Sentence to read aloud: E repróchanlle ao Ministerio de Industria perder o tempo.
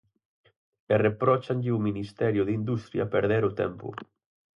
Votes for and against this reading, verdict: 4, 0, accepted